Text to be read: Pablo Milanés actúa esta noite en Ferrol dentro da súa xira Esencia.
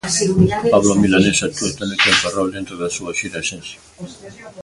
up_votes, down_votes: 1, 2